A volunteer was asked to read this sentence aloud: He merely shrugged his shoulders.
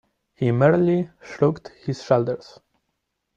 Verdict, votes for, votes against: rejected, 1, 2